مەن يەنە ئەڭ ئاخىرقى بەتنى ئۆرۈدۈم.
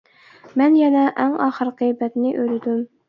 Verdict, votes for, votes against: accepted, 2, 0